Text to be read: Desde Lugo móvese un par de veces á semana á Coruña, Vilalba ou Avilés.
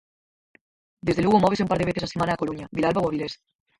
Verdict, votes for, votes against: rejected, 0, 4